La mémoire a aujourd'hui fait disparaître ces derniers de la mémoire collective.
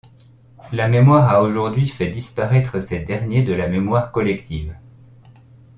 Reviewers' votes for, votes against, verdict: 2, 0, accepted